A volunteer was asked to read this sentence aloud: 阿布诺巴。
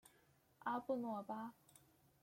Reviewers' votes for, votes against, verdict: 2, 0, accepted